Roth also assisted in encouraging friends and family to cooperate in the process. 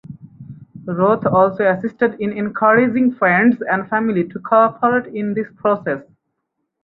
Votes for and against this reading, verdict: 0, 4, rejected